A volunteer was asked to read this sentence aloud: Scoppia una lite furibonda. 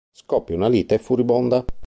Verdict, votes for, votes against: accepted, 2, 0